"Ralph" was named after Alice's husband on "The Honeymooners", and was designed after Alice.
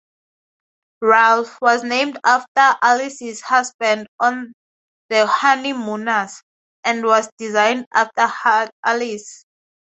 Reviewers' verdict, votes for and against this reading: rejected, 0, 4